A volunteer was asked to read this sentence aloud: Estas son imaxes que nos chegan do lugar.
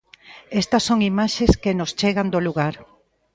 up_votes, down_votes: 3, 0